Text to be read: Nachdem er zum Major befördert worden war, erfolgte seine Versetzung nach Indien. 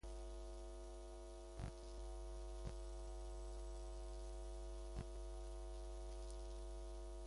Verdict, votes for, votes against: rejected, 0, 2